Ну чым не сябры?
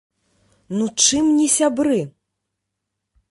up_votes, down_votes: 2, 0